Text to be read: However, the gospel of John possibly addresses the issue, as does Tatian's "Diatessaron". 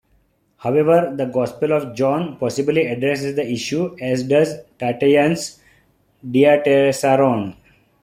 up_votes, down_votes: 2, 0